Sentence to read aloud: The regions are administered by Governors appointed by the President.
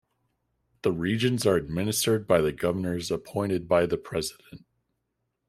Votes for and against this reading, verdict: 0, 2, rejected